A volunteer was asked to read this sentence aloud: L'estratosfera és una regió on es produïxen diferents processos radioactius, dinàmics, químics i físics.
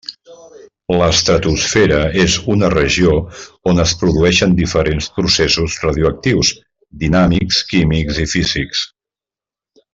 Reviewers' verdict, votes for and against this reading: accepted, 2, 0